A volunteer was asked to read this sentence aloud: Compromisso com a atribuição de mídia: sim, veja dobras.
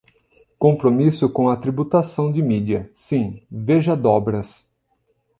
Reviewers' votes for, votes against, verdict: 1, 2, rejected